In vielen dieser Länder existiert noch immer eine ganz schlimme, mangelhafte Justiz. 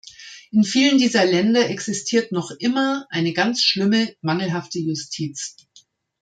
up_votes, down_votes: 1, 2